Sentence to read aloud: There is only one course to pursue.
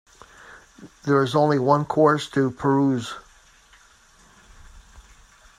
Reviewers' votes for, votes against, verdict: 0, 2, rejected